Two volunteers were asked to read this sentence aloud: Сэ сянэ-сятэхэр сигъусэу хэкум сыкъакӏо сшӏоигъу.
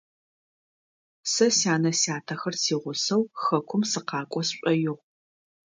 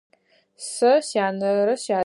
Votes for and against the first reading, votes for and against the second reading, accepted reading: 2, 0, 0, 4, first